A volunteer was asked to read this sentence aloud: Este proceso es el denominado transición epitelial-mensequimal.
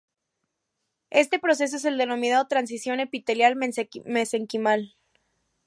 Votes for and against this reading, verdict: 1, 2, rejected